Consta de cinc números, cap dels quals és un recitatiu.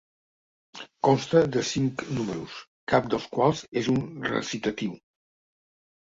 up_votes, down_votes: 3, 0